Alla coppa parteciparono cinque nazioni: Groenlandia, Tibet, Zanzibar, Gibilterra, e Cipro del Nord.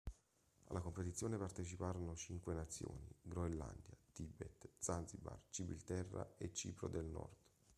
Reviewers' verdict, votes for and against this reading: accepted, 2, 1